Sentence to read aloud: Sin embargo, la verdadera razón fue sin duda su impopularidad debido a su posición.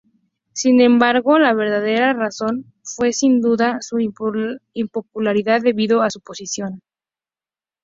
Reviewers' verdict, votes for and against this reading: accepted, 4, 0